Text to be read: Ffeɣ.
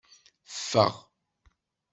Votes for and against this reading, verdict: 2, 0, accepted